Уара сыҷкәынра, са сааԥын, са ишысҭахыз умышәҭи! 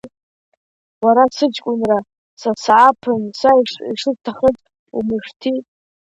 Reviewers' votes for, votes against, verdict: 2, 0, accepted